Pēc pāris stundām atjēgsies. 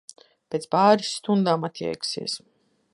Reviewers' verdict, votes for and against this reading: accepted, 2, 0